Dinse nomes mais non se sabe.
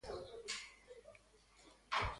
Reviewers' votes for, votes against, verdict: 0, 2, rejected